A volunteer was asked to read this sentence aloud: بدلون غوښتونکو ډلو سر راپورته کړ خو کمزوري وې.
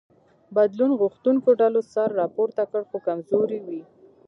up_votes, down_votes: 2, 1